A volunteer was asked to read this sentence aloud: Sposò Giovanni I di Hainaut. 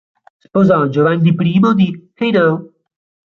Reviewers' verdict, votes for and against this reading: rejected, 1, 2